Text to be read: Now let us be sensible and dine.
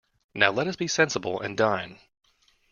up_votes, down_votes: 2, 0